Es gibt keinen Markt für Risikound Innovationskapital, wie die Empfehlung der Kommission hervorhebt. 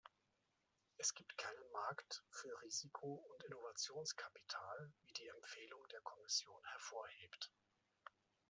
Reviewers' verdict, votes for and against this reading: rejected, 0, 2